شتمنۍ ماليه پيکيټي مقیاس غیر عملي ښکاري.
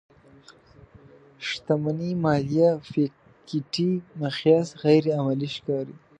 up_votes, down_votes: 1, 2